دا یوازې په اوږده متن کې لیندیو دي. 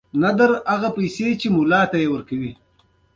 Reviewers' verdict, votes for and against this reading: accepted, 3, 1